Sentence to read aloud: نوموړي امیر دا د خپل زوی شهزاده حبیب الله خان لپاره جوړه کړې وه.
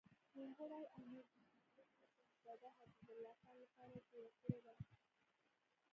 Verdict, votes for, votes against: rejected, 1, 2